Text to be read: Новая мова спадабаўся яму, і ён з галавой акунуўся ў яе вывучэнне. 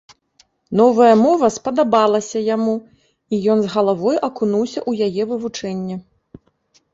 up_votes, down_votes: 1, 2